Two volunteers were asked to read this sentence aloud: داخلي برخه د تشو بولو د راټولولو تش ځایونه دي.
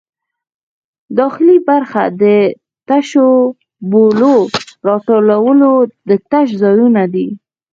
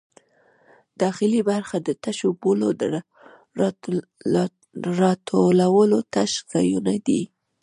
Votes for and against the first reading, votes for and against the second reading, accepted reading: 4, 2, 0, 2, first